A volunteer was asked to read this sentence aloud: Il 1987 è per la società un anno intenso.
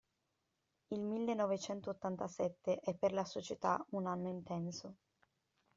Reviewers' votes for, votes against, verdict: 0, 2, rejected